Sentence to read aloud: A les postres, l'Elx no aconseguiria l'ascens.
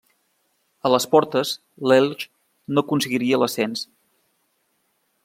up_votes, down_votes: 1, 2